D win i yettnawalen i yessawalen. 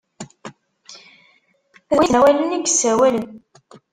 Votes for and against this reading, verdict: 0, 2, rejected